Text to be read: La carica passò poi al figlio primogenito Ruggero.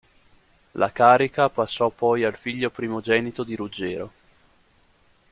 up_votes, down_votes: 0, 2